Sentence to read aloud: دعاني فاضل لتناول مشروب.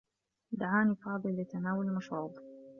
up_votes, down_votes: 2, 0